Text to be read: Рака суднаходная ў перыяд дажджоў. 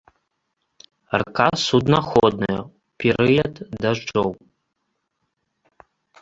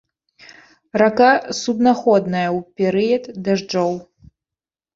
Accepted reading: second